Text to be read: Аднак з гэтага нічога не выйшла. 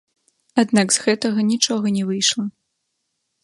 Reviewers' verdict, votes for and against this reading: accepted, 2, 0